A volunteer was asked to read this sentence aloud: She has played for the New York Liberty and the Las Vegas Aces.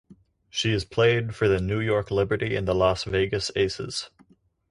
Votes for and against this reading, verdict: 4, 0, accepted